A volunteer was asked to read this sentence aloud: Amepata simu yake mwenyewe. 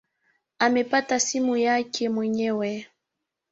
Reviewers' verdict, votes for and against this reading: accepted, 2, 1